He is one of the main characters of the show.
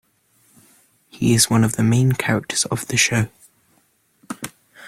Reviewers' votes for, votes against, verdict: 2, 0, accepted